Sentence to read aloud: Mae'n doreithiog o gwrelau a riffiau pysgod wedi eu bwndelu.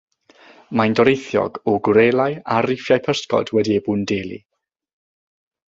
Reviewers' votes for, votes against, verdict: 3, 3, rejected